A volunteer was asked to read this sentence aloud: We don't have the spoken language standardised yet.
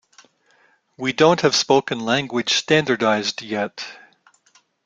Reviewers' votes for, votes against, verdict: 0, 2, rejected